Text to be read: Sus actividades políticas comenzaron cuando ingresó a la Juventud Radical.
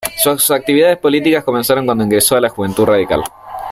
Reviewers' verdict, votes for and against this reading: accepted, 2, 0